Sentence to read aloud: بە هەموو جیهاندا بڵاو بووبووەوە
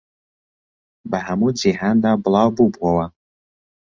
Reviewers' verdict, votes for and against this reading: accepted, 2, 0